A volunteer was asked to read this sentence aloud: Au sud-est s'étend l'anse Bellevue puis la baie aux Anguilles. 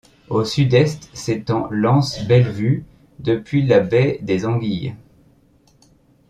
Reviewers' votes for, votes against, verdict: 0, 2, rejected